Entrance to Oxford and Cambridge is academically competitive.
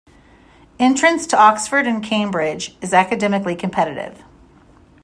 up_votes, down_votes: 2, 0